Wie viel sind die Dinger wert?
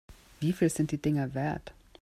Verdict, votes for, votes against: accepted, 2, 0